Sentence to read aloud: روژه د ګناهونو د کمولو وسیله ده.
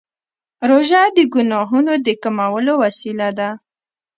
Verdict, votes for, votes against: rejected, 1, 2